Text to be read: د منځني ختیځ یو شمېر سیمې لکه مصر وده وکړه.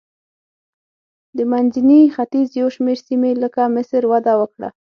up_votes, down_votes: 6, 0